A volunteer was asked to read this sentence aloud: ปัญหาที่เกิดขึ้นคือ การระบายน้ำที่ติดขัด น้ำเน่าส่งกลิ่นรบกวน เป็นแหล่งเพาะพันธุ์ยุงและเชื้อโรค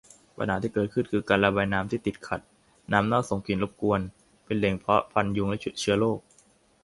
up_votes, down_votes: 0, 2